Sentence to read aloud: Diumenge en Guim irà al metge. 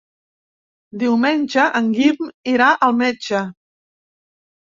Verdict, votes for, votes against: accepted, 4, 0